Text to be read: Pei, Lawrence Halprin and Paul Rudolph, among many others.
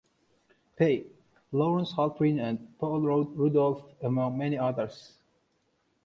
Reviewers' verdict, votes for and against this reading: rejected, 1, 2